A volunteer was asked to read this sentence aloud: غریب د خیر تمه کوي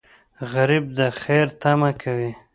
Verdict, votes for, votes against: accepted, 2, 0